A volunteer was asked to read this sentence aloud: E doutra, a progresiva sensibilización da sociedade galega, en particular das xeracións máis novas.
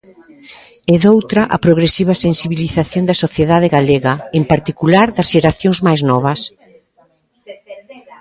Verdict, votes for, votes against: rejected, 1, 2